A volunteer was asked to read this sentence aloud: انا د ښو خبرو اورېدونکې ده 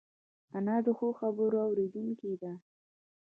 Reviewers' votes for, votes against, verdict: 0, 2, rejected